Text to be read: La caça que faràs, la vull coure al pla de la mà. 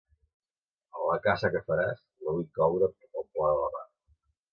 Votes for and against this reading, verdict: 2, 0, accepted